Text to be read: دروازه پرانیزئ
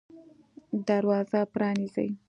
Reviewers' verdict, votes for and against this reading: accepted, 2, 0